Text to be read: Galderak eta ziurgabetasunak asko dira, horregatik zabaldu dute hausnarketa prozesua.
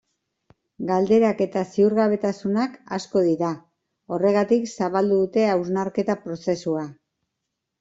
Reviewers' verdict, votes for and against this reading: accepted, 2, 0